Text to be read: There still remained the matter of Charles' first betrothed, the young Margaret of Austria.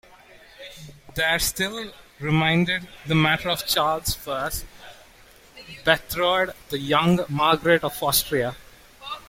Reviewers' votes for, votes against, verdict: 0, 2, rejected